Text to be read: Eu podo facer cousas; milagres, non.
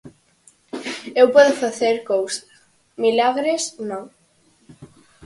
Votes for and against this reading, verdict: 4, 0, accepted